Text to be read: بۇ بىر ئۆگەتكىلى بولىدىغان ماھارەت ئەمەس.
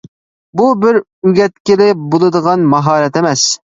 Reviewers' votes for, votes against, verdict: 3, 0, accepted